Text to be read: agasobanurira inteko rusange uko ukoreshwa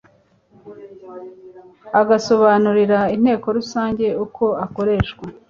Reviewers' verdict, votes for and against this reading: rejected, 0, 2